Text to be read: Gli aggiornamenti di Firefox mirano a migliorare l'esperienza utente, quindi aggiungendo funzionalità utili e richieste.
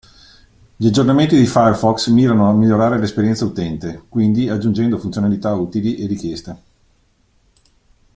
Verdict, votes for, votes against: accepted, 2, 0